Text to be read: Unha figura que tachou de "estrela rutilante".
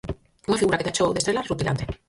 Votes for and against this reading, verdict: 0, 4, rejected